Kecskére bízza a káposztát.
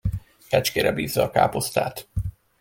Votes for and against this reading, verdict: 2, 0, accepted